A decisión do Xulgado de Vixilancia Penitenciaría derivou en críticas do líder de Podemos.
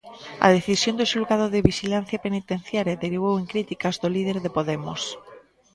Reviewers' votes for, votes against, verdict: 0, 2, rejected